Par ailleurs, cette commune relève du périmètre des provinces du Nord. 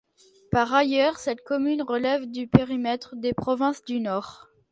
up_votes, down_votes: 2, 0